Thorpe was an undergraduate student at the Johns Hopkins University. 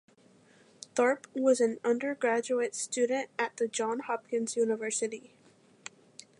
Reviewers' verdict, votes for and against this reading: rejected, 0, 2